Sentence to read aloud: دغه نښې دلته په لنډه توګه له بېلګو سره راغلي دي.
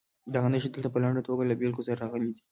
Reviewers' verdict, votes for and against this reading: accepted, 2, 0